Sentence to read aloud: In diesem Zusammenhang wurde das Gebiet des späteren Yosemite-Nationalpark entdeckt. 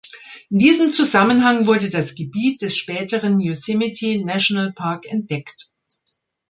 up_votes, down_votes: 2, 0